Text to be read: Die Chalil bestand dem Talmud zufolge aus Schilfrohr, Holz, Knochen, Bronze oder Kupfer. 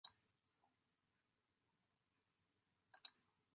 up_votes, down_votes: 0, 2